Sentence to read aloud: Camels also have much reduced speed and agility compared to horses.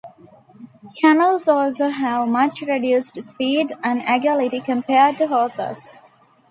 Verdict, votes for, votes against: rejected, 1, 3